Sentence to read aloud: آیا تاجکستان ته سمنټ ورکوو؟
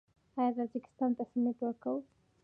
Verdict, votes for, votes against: accepted, 2, 0